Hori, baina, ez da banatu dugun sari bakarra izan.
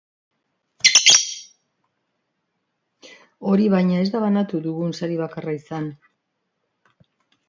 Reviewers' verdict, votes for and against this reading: accepted, 3, 1